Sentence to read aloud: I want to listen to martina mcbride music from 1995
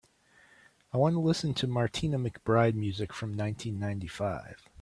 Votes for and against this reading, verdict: 0, 2, rejected